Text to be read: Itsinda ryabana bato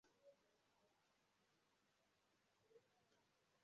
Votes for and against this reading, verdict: 0, 2, rejected